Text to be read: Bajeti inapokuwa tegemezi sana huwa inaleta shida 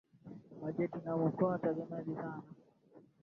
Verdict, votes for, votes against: rejected, 0, 2